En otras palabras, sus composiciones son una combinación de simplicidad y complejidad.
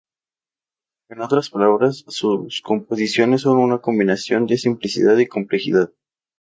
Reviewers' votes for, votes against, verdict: 0, 2, rejected